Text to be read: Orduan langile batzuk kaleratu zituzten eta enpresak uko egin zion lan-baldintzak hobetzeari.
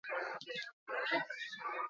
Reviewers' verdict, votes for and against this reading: accepted, 2, 0